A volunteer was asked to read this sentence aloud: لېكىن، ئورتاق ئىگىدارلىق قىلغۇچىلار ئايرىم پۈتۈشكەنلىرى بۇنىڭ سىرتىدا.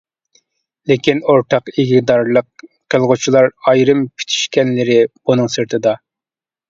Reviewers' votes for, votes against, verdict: 0, 2, rejected